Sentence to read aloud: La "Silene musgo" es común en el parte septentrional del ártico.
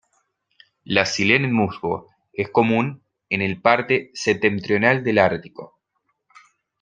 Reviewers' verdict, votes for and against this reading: accepted, 2, 0